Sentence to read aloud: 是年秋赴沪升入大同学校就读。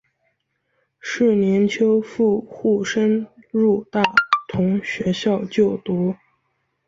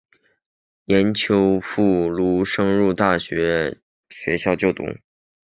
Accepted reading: first